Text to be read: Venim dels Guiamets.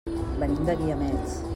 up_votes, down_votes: 1, 2